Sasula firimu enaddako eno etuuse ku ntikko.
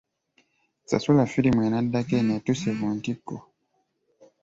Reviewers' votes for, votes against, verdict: 2, 0, accepted